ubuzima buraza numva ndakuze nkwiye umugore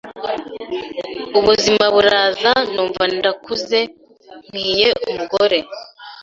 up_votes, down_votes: 2, 0